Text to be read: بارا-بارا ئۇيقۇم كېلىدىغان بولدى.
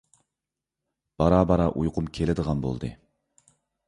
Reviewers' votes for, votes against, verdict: 2, 0, accepted